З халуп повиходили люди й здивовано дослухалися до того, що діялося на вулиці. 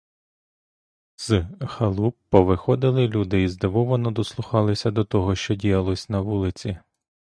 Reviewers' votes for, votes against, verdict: 0, 2, rejected